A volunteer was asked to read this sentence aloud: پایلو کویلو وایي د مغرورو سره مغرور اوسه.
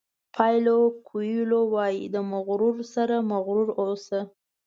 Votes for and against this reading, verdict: 2, 0, accepted